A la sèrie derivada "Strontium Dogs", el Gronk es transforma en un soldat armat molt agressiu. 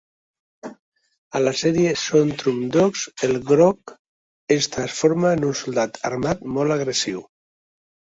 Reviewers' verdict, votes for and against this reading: rejected, 0, 3